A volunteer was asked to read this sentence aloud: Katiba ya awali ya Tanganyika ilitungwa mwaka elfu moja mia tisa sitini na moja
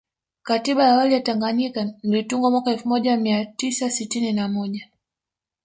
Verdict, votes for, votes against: rejected, 1, 2